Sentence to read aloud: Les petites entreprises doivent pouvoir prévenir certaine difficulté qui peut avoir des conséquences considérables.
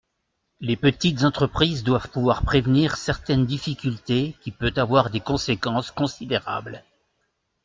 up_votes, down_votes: 2, 0